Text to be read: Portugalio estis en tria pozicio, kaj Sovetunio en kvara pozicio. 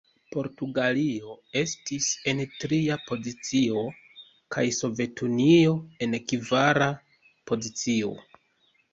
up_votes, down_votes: 2, 1